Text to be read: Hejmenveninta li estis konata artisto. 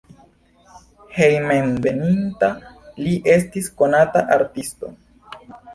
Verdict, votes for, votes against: accepted, 2, 0